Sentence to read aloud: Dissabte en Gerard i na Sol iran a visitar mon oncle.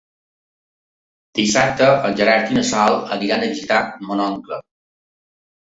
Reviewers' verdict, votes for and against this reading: rejected, 0, 2